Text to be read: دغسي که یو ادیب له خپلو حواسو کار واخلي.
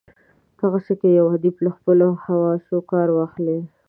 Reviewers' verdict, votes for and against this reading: accepted, 2, 0